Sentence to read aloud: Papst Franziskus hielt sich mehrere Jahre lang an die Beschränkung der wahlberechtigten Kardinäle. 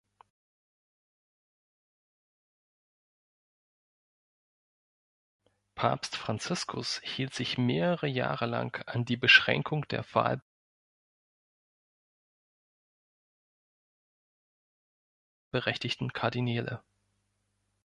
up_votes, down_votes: 0, 2